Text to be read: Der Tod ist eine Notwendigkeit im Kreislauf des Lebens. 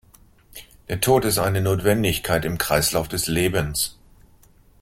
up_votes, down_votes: 2, 0